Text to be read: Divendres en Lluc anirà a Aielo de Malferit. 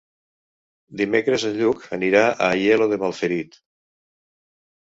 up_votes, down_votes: 2, 3